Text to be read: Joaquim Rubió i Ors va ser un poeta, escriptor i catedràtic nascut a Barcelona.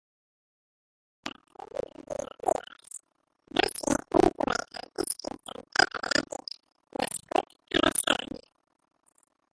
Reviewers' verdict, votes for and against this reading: rejected, 1, 2